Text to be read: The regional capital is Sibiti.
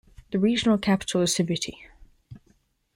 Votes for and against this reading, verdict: 3, 0, accepted